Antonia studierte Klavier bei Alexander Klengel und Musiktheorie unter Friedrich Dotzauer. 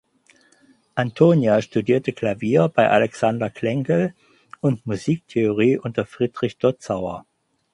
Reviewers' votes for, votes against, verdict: 4, 0, accepted